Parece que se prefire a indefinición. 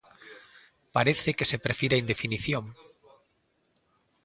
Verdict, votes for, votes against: accepted, 2, 0